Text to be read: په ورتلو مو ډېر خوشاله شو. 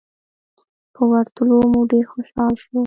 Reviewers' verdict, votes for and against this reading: rejected, 0, 2